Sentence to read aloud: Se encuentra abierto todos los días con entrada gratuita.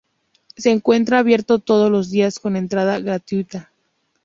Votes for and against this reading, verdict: 4, 0, accepted